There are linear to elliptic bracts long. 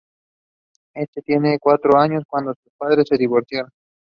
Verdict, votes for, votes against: rejected, 0, 2